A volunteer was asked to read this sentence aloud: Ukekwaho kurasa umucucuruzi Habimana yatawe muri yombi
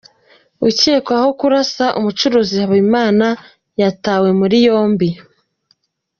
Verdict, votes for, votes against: rejected, 0, 2